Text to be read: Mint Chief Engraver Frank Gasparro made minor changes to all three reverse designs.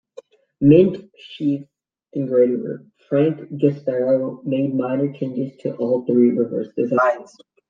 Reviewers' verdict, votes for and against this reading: rejected, 1, 2